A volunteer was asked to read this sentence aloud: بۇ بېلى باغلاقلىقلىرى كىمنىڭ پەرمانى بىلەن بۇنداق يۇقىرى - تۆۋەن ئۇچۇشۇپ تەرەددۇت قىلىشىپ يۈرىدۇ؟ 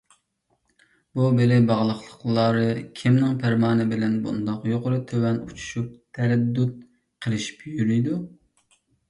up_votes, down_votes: 1, 2